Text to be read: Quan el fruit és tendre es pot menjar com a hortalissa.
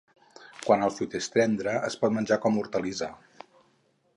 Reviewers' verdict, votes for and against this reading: accepted, 4, 2